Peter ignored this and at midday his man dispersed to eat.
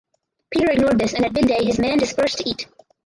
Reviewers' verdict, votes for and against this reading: rejected, 2, 4